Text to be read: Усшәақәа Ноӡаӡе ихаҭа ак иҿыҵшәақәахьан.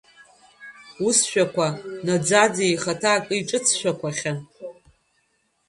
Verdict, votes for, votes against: rejected, 0, 2